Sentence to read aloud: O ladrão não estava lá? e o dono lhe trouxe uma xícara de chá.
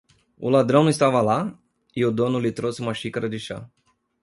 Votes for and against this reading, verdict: 2, 0, accepted